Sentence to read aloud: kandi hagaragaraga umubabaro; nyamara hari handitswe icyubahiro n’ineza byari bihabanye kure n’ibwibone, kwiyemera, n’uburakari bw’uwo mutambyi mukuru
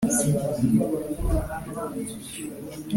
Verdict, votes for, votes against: rejected, 1, 2